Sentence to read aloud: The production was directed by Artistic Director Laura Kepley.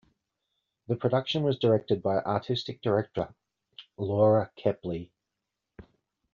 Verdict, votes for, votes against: accepted, 2, 1